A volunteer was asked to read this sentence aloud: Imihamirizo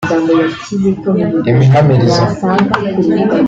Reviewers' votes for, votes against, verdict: 1, 2, rejected